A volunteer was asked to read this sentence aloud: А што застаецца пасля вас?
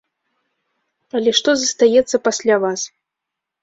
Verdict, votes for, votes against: rejected, 0, 2